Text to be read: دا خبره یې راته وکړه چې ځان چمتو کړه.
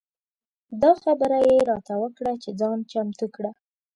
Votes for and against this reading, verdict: 2, 0, accepted